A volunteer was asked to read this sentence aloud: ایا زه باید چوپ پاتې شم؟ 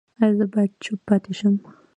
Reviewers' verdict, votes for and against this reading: accepted, 2, 0